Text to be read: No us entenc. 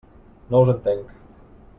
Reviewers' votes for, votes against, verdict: 3, 0, accepted